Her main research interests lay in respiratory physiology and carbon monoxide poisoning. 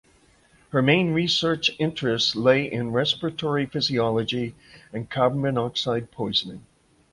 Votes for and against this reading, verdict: 2, 0, accepted